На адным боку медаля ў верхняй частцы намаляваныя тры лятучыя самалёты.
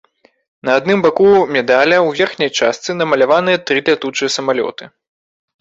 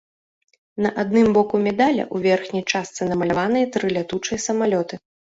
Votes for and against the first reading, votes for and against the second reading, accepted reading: 1, 2, 2, 0, second